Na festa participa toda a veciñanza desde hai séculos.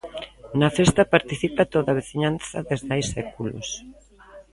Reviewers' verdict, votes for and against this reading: accepted, 2, 0